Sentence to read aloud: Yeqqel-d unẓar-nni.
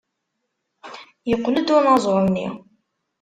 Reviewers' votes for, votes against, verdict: 1, 2, rejected